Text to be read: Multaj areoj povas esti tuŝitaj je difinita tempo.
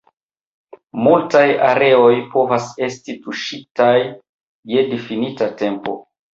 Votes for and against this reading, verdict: 2, 0, accepted